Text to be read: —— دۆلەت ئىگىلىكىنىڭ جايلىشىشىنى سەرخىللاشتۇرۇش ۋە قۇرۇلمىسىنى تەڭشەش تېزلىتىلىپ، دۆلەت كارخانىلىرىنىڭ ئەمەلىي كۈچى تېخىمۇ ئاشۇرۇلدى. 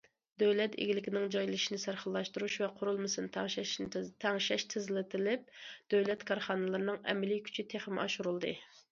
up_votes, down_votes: 0, 2